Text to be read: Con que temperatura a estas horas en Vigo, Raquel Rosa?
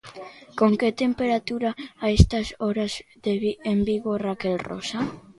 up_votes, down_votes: 0, 2